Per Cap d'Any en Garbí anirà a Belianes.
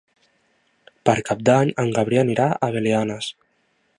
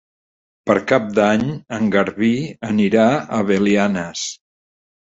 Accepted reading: second